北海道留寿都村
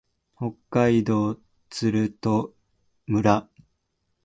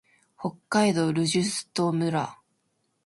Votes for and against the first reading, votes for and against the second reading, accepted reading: 0, 2, 2, 0, second